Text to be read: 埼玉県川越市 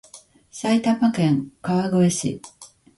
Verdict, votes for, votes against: accepted, 2, 0